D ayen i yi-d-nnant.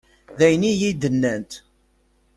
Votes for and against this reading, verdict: 2, 0, accepted